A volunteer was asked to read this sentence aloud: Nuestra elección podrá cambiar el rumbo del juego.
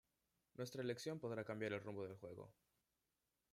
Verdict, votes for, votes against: rejected, 1, 2